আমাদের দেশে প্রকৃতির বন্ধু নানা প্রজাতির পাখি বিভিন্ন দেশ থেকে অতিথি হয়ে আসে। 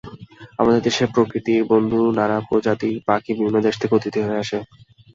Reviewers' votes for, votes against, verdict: 2, 0, accepted